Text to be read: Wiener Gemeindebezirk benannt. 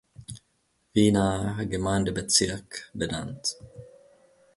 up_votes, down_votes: 2, 0